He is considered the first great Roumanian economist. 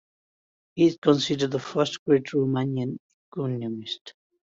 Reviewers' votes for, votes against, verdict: 2, 1, accepted